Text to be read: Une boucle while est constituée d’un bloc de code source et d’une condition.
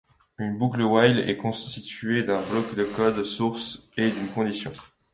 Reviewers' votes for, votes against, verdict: 2, 0, accepted